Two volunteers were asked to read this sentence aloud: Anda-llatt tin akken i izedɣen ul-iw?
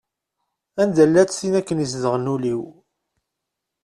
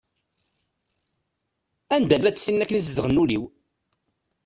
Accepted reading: first